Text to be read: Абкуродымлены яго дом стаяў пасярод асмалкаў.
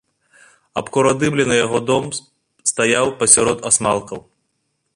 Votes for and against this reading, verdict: 1, 2, rejected